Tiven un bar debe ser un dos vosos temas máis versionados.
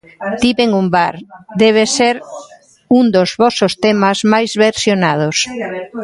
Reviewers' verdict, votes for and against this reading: accepted, 2, 0